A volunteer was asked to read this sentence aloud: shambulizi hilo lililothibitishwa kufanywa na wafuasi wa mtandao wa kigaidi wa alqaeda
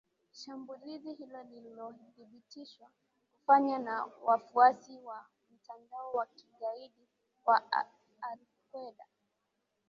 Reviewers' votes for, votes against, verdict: 0, 2, rejected